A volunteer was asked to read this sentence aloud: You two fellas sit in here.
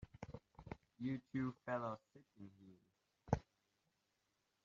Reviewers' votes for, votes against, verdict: 1, 3, rejected